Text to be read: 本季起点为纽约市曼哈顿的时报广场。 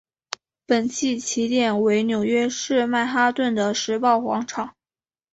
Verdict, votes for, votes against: accepted, 2, 0